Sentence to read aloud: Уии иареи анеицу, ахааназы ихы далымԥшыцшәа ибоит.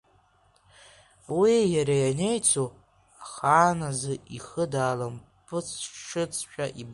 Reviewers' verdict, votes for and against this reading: rejected, 0, 2